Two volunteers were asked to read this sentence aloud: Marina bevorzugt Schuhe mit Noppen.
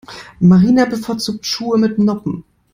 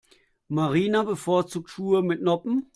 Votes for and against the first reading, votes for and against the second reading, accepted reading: 1, 2, 2, 0, second